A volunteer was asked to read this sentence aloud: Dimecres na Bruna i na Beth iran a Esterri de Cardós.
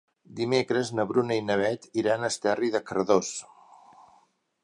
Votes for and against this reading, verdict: 2, 0, accepted